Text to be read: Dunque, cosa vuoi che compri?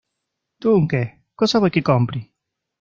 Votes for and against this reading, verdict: 0, 2, rejected